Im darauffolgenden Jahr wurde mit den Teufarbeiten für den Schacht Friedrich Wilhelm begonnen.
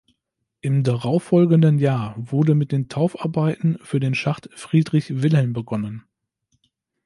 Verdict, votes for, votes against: rejected, 1, 2